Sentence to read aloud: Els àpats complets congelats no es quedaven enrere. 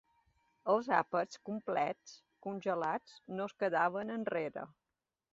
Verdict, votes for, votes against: accepted, 2, 0